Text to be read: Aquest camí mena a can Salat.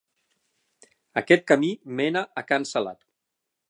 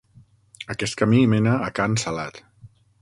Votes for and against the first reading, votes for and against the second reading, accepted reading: 12, 0, 3, 6, first